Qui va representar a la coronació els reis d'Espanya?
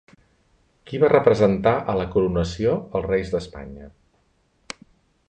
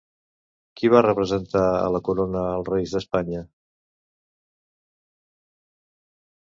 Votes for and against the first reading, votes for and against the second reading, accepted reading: 3, 0, 0, 2, first